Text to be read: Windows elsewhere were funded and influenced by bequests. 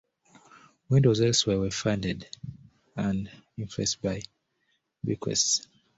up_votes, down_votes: 2, 0